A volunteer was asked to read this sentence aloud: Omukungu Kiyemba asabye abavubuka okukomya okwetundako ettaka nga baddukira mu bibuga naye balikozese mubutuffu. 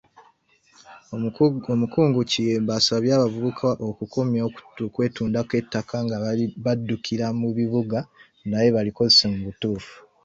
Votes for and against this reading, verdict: 0, 2, rejected